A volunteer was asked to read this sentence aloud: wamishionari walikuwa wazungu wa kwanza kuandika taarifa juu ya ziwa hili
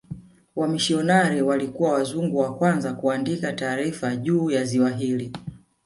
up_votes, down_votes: 0, 2